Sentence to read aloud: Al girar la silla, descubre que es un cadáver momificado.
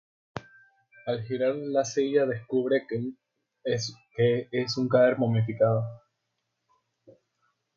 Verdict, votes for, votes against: rejected, 0, 2